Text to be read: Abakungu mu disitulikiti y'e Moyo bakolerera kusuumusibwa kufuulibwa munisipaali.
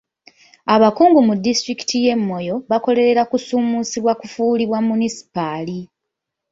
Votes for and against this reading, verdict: 2, 0, accepted